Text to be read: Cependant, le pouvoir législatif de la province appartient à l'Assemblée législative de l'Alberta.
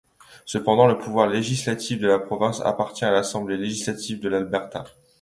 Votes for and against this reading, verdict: 2, 0, accepted